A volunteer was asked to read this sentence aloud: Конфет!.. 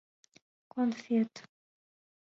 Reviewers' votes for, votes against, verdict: 2, 0, accepted